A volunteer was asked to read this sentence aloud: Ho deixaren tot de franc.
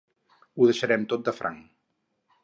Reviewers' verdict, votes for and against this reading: rejected, 0, 4